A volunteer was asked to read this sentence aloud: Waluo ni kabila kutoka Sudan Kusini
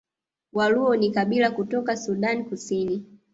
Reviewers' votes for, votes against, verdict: 2, 0, accepted